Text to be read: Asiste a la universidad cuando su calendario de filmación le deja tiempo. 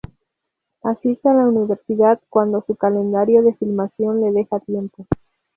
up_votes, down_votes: 4, 0